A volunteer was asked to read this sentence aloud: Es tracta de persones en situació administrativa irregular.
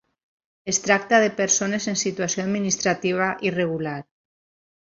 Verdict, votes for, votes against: accepted, 6, 0